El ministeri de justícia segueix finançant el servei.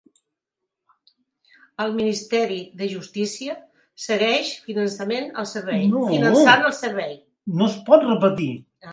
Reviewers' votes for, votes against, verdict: 1, 2, rejected